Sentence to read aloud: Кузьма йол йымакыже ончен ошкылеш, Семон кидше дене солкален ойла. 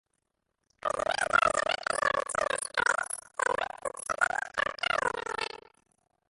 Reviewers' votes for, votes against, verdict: 0, 2, rejected